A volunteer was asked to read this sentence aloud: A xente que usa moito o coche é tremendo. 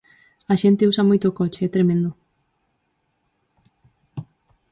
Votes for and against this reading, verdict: 0, 4, rejected